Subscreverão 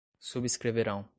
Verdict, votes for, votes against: accepted, 2, 0